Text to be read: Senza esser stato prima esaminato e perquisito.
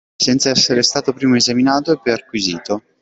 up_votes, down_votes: 2, 1